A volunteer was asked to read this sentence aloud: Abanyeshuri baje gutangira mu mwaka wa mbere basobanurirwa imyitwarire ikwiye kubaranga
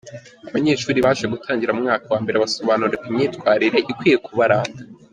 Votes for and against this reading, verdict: 0, 2, rejected